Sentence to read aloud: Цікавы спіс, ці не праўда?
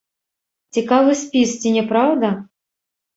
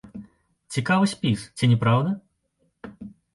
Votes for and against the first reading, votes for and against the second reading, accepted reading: 0, 2, 2, 0, second